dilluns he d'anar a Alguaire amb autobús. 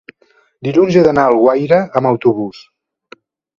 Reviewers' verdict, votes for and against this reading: accepted, 2, 0